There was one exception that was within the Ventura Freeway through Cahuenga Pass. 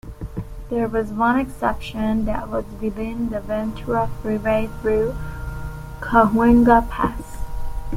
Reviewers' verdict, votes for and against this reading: accepted, 2, 0